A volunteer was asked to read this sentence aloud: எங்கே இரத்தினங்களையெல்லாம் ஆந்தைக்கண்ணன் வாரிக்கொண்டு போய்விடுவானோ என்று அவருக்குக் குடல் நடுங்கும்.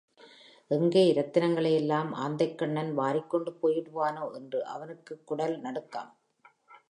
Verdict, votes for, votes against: accepted, 2, 1